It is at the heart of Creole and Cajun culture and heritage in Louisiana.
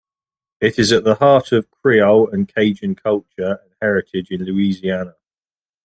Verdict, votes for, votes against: accepted, 2, 0